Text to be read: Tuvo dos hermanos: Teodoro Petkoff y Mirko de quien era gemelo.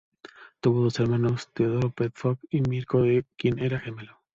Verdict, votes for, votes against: accepted, 2, 1